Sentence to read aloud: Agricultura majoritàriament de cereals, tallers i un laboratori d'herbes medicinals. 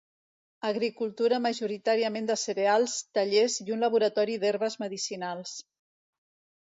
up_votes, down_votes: 2, 0